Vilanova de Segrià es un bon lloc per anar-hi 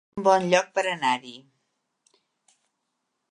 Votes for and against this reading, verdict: 0, 2, rejected